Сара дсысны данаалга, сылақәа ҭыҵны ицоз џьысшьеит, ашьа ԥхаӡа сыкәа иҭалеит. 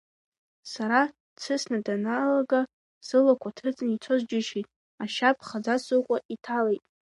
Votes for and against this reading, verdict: 2, 1, accepted